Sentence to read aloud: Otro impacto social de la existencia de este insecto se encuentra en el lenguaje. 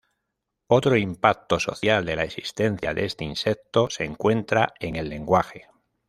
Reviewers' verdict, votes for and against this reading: rejected, 1, 2